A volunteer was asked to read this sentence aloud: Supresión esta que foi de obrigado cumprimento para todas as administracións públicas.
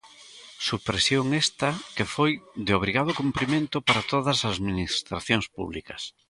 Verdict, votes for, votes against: rejected, 0, 2